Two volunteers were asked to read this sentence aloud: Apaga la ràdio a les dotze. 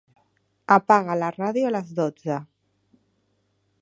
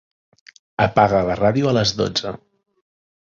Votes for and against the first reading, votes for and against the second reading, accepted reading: 1, 2, 3, 0, second